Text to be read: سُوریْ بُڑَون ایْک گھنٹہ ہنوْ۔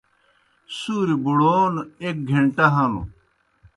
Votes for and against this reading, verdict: 2, 0, accepted